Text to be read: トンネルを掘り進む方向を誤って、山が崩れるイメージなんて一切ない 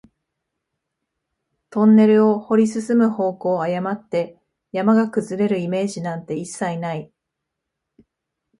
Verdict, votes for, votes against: accepted, 5, 0